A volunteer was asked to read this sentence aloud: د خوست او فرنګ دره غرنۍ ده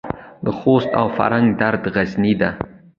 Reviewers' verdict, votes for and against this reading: accepted, 2, 0